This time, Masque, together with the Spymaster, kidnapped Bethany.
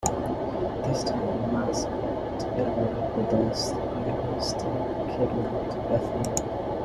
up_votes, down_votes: 0, 2